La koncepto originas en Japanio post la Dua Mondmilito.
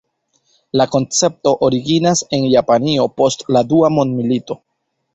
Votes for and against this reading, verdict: 1, 2, rejected